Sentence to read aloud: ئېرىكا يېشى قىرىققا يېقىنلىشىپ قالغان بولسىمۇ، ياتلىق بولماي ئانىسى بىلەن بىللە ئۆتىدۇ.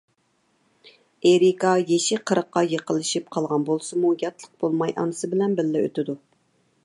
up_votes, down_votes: 2, 0